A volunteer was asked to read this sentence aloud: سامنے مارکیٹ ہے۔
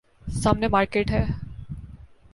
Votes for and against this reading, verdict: 3, 0, accepted